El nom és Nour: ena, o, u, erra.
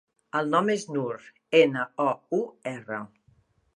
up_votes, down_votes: 2, 0